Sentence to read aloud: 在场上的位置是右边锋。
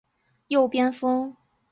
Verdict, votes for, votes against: rejected, 0, 2